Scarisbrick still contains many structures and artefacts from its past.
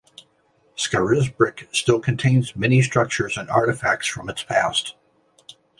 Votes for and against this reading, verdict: 2, 0, accepted